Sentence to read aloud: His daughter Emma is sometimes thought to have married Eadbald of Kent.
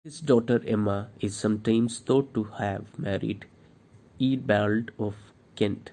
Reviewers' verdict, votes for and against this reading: accepted, 2, 0